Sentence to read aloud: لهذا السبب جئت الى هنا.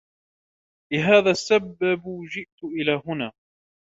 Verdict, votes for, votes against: rejected, 0, 2